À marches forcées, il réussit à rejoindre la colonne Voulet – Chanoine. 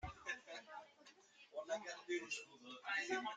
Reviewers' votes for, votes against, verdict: 0, 2, rejected